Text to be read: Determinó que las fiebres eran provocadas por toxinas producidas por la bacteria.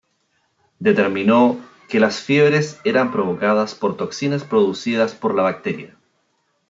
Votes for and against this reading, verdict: 0, 2, rejected